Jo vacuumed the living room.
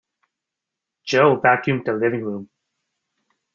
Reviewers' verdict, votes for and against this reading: accepted, 2, 0